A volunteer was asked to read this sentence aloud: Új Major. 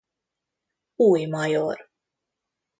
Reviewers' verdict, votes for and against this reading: accepted, 2, 0